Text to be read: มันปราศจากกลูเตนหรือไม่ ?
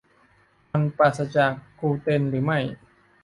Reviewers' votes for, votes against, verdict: 2, 0, accepted